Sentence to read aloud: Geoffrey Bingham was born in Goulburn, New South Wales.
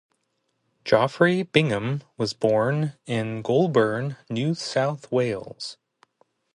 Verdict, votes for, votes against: rejected, 0, 2